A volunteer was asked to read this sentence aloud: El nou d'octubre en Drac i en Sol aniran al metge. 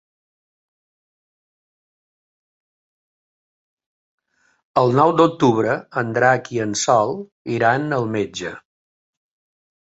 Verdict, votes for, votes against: rejected, 2, 3